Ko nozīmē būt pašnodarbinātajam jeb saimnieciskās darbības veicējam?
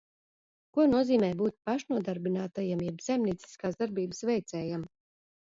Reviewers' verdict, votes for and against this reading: rejected, 1, 2